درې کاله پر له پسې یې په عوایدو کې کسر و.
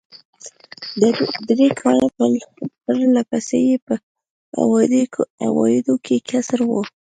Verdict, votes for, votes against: rejected, 1, 2